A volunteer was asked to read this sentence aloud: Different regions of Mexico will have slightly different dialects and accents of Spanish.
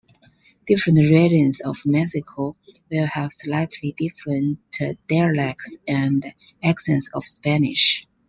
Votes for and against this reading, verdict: 1, 2, rejected